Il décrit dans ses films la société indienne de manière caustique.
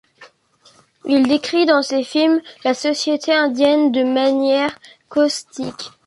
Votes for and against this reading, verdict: 3, 0, accepted